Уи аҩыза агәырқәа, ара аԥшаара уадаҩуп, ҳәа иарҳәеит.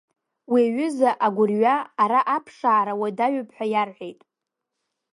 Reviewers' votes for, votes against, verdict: 0, 2, rejected